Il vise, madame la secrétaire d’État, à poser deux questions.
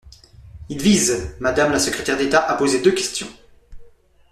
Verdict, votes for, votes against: accepted, 2, 0